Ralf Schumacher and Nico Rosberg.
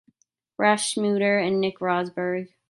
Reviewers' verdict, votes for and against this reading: rejected, 0, 2